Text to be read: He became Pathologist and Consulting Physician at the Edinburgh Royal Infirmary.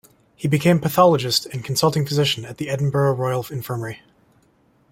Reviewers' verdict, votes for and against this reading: accepted, 2, 0